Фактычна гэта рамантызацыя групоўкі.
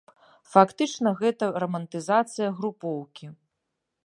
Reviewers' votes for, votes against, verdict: 2, 0, accepted